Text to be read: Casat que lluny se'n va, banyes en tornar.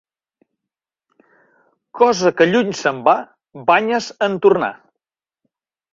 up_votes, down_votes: 1, 2